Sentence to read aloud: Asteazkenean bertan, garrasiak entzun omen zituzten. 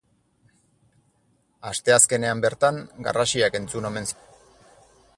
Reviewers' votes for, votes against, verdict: 2, 4, rejected